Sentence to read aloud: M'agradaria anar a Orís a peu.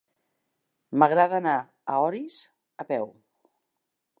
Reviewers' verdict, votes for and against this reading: rejected, 1, 4